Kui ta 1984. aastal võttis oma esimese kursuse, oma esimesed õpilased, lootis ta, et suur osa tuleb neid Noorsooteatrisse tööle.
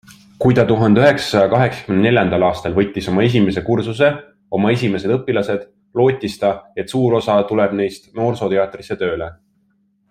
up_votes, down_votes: 0, 2